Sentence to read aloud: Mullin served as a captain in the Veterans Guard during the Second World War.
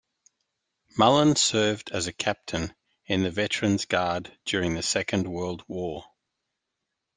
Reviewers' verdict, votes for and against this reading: accepted, 2, 0